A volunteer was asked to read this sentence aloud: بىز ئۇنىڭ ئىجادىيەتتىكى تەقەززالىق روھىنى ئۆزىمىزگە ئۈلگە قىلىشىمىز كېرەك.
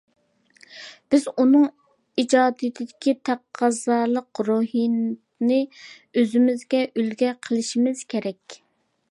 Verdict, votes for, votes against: rejected, 0, 2